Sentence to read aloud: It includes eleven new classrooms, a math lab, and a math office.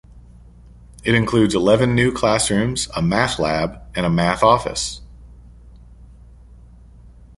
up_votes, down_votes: 2, 0